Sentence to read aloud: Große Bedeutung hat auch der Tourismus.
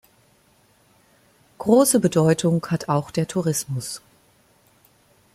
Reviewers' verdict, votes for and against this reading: accepted, 2, 0